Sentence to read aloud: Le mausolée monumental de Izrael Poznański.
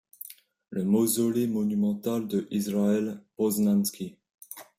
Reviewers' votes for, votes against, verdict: 2, 0, accepted